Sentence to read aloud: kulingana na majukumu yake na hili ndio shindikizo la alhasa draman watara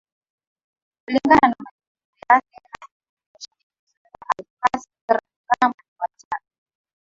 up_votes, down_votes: 2, 0